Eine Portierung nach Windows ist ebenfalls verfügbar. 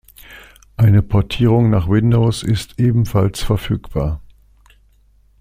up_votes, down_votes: 2, 0